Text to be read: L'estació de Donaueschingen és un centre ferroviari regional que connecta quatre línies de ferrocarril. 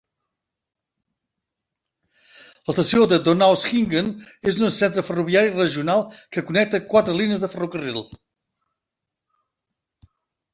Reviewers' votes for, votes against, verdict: 2, 0, accepted